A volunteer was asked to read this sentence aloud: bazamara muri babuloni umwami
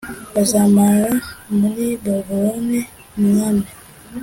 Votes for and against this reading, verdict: 2, 0, accepted